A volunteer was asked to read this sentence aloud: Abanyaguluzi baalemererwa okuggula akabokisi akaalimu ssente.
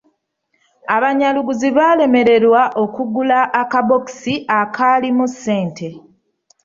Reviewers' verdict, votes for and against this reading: rejected, 0, 2